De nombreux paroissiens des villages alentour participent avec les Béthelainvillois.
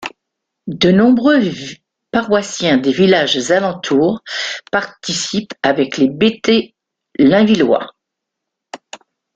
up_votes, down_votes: 1, 2